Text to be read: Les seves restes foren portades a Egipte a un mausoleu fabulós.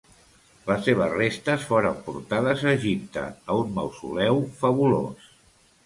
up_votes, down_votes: 2, 0